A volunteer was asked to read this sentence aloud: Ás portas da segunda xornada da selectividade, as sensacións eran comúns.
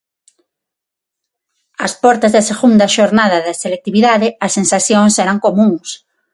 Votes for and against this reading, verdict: 6, 0, accepted